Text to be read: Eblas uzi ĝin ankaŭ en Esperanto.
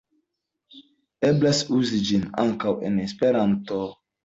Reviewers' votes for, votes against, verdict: 2, 0, accepted